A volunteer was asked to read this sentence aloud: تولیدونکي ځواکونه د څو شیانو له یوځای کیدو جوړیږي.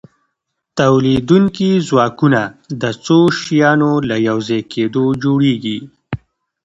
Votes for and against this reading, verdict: 2, 0, accepted